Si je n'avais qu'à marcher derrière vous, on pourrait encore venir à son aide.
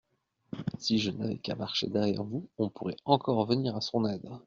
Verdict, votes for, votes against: rejected, 1, 2